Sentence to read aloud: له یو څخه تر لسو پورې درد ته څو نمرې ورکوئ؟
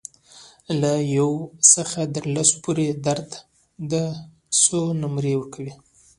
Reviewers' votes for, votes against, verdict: 2, 1, accepted